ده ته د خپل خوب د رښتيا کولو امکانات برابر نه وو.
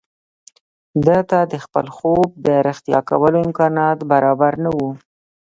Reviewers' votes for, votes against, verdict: 0, 2, rejected